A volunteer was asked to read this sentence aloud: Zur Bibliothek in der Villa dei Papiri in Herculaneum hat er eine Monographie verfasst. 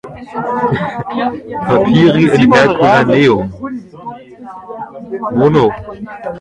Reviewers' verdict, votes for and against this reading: rejected, 0, 2